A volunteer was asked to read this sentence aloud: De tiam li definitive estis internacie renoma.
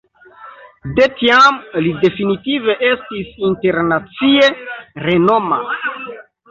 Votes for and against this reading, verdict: 0, 2, rejected